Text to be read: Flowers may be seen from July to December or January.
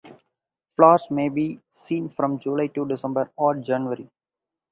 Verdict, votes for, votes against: accepted, 2, 0